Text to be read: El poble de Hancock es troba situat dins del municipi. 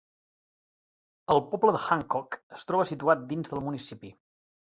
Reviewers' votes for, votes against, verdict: 3, 0, accepted